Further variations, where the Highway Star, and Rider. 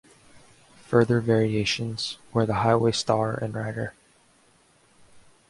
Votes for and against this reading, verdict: 2, 0, accepted